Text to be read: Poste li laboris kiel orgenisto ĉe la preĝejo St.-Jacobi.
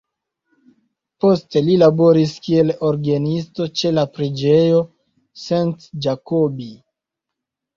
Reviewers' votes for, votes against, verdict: 1, 2, rejected